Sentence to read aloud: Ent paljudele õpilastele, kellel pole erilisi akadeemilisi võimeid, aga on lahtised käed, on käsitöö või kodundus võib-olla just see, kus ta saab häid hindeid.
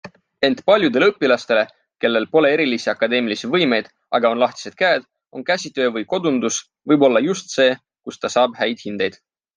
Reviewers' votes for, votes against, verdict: 2, 0, accepted